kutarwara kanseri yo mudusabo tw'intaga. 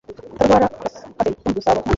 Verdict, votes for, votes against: rejected, 1, 2